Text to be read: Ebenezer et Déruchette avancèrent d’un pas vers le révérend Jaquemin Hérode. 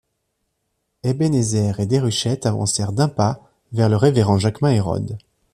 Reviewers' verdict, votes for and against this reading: accepted, 2, 0